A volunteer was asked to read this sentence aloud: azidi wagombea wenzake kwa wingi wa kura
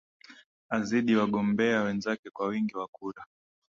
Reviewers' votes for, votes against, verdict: 4, 3, accepted